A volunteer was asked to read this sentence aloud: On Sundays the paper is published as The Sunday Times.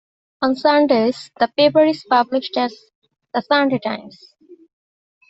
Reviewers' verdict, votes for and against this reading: accepted, 2, 0